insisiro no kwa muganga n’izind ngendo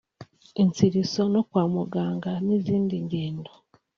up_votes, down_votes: 1, 2